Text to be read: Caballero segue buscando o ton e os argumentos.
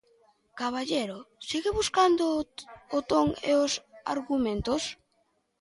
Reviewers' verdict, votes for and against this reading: accepted, 2, 1